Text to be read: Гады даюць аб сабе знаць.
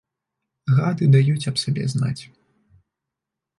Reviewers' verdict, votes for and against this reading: rejected, 1, 2